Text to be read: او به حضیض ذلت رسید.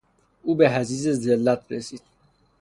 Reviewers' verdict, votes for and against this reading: accepted, 3, 0